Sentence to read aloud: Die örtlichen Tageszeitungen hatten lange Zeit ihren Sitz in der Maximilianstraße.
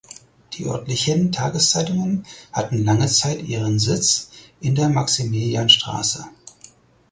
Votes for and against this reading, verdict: 4, 0, accepted